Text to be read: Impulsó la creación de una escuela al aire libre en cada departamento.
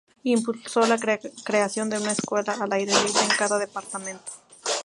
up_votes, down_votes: 0, 2